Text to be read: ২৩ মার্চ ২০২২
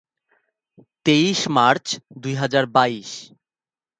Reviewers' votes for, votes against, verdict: 0, 2, rejected